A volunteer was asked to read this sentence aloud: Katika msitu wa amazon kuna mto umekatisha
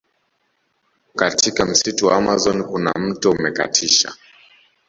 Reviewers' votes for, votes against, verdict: 2, 0, accepted